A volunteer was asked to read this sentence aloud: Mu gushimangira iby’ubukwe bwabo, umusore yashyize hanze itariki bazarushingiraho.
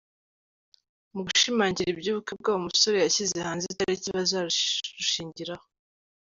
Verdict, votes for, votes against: rejected, 0, 2